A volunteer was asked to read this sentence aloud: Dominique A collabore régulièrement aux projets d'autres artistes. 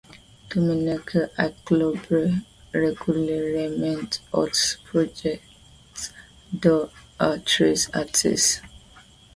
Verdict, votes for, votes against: rejected, 0, 2